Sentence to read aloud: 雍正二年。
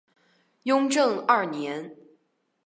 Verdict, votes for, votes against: accepted, 2, 0